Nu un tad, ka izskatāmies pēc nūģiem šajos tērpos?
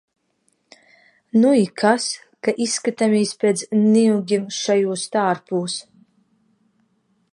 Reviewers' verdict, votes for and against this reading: rejected, 0, 2